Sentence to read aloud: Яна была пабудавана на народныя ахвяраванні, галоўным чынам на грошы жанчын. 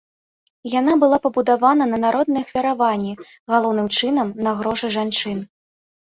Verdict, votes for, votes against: accepted, 3, 0